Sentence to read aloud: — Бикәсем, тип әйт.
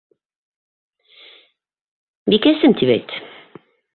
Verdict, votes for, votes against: accepted, 2, 0